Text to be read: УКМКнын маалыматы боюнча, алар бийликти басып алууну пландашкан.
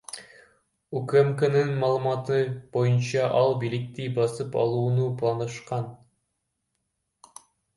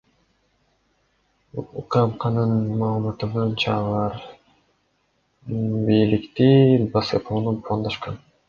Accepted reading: second